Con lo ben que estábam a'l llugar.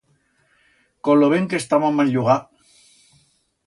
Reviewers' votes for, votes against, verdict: 2, 0, accepted